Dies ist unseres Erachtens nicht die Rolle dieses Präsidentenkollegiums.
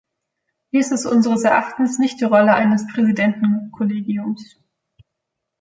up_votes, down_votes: 0, 2